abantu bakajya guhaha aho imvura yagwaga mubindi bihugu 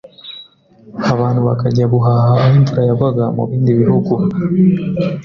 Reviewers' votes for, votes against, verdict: 2, 0, accepted